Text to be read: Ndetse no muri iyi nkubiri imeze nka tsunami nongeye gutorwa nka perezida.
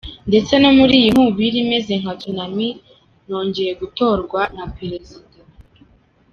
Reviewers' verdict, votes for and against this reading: accepted, 2, 0